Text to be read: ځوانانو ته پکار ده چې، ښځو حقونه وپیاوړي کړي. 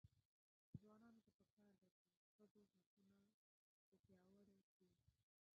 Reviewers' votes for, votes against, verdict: 0, 2, rejected